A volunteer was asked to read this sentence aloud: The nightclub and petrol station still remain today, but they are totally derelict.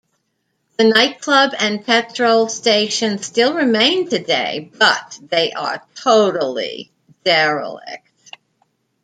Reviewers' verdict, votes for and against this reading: accepted, 2, 0